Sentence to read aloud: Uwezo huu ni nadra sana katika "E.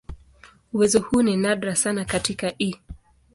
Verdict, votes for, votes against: accepted, 2, 0